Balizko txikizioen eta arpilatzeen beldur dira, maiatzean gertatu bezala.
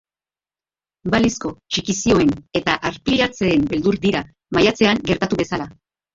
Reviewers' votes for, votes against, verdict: 1, 2, rejected